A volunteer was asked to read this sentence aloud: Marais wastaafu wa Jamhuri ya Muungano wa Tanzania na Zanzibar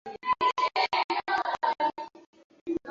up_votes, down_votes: 0, 2